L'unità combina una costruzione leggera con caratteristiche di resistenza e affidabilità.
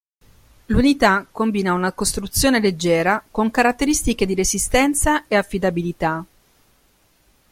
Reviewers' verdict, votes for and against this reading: accepted, 2, 0